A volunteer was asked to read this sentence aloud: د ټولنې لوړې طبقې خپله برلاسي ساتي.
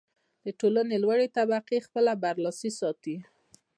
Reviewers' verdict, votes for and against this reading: accepted, 2, 0